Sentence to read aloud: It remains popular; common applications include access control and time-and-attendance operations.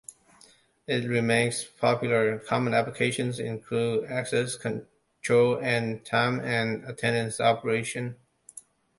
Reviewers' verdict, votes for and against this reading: rejected, 0, 2